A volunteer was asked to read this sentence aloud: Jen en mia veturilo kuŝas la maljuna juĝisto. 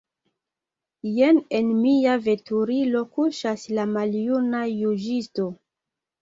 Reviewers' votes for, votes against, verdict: 2, 0, accepted